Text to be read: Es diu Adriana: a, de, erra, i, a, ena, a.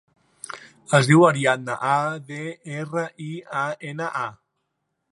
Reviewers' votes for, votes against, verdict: 1, 2, rejected